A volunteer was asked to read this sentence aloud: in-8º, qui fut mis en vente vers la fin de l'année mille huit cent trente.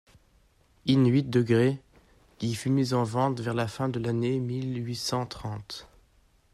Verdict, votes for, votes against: rejected, 0, 2